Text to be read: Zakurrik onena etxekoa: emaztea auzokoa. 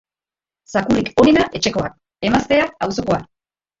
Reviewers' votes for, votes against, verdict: 1, 2, rejected